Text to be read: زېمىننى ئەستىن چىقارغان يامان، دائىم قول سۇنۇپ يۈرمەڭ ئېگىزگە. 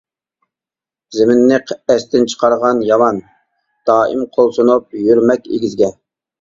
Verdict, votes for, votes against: rejected, 0, 2